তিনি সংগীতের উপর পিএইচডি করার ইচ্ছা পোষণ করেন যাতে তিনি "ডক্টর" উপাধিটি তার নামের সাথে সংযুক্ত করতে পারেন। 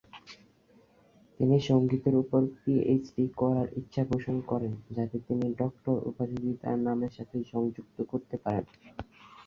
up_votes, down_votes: 5, 2